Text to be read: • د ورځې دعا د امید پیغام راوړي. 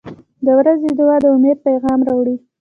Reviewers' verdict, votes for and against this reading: accepted, 3, 1